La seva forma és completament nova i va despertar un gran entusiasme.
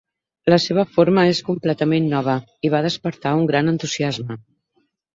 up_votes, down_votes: 9, 0